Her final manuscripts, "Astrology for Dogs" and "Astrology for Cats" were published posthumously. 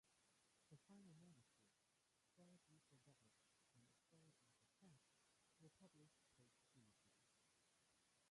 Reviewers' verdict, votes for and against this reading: rejected, 0, 2